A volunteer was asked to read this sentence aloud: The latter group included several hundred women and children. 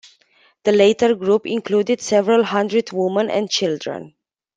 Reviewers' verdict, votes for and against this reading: rejected, 0, 2